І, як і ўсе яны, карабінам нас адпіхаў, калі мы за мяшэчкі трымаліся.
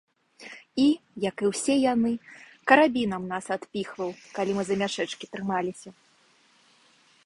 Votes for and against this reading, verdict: 1, 3, rejected